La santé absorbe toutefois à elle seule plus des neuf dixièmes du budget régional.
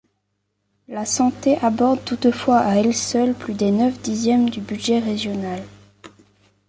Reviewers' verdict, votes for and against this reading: rejected, 0, 2